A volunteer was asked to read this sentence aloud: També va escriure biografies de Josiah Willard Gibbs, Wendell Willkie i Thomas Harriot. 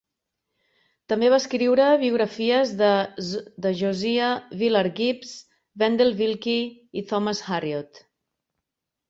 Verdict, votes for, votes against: rejected, 0, 2